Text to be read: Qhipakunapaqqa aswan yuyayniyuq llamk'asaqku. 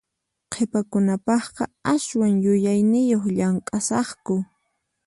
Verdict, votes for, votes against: accepted, 4, 0